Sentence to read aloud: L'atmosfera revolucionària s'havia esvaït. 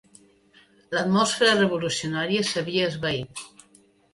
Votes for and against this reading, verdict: 1, 2, rejected